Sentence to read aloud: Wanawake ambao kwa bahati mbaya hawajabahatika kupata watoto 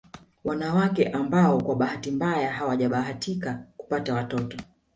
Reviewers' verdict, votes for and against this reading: accepted, 2, 0